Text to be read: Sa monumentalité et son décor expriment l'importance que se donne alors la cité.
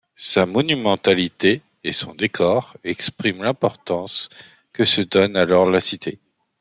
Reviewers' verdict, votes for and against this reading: accepted, 2, 0